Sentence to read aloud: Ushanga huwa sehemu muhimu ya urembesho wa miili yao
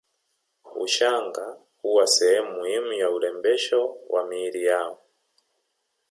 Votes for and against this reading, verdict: 2, 0, accepted